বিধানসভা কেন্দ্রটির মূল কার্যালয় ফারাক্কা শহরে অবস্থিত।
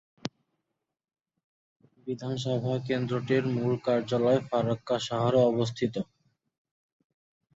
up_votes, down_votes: 2, 2